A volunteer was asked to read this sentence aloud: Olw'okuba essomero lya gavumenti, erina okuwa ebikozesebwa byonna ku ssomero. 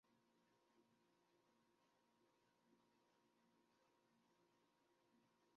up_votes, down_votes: 0, 2